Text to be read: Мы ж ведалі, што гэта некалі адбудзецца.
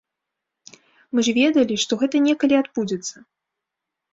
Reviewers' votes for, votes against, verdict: 2, 0, accepted